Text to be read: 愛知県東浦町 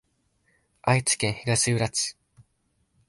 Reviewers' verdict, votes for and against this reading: rejected, 1, 2